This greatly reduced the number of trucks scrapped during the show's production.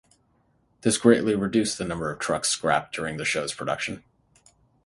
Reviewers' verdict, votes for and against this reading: accepted, 6, 0